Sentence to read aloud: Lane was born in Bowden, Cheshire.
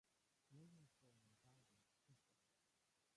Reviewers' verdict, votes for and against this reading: rejected, 0, 3